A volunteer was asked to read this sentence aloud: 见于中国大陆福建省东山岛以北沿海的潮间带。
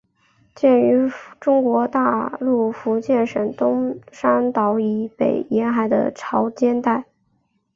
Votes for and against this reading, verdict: 2, 1, accepted